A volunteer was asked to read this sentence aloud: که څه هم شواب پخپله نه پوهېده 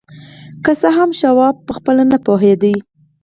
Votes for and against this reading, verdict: 0, 4, rejected